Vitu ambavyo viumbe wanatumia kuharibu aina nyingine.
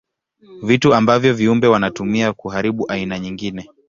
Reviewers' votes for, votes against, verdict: 2, 0, accepted